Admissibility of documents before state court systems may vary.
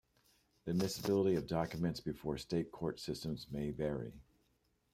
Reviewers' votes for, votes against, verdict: 2, 1, accepted